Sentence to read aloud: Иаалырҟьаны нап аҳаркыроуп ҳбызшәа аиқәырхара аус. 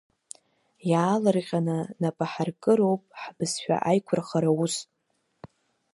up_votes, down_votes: 2, 0